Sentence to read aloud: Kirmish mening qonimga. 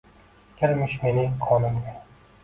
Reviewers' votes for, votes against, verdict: 1, 2, rejected